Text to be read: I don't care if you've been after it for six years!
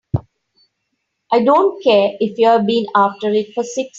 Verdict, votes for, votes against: rejected, 0, 3